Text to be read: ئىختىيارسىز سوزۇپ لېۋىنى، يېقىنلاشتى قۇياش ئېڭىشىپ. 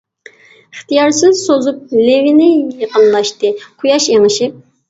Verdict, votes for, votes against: accepted, 2, 0